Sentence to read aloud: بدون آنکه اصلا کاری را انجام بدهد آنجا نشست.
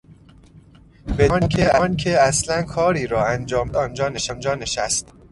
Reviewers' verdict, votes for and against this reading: rejected, 1, 2